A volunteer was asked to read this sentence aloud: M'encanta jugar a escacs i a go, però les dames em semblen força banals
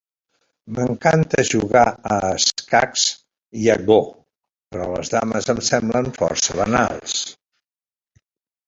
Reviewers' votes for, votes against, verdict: 1, 2, rejected